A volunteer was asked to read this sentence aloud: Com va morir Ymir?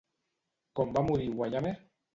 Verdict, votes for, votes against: rejected, 0, 2